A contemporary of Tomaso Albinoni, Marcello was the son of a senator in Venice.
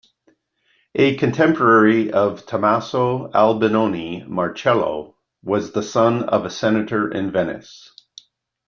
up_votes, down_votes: 2, 0